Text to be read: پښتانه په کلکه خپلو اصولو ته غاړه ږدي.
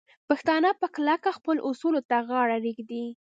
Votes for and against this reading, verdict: 2, 1, accepted